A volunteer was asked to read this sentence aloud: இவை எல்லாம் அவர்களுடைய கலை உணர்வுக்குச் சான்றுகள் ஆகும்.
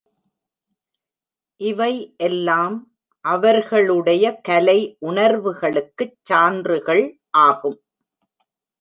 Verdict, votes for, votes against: rejected, 0, 2